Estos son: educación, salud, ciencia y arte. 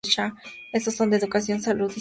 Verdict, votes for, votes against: rejected, 0, 2